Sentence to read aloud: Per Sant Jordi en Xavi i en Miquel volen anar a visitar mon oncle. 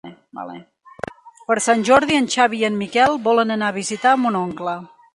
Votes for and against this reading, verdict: 2, 1, accepted